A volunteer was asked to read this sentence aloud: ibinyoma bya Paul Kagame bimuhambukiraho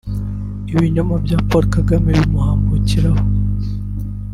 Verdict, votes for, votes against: rejected, 1, 2